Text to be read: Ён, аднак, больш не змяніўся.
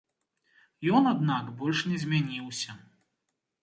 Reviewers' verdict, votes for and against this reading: accepted, 2, 0